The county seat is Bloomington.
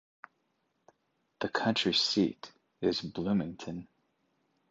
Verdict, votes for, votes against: rejected, 1, 2